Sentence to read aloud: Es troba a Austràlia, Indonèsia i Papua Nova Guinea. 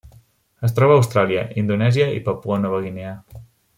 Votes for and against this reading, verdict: 3, 0, accepted